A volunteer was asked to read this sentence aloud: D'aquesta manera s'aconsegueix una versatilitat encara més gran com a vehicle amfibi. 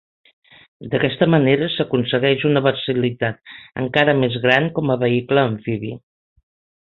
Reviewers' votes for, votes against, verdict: 0, 4, rejected